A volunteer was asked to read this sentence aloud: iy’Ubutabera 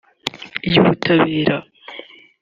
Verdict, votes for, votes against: accepted, 2, 0